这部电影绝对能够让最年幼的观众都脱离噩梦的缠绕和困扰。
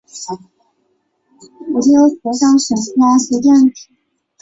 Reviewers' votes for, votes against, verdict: 1, 2, rejected